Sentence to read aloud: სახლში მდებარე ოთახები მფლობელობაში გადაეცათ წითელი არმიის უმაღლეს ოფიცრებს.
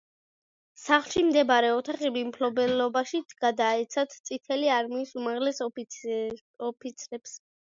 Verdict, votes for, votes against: rejected, 0, 2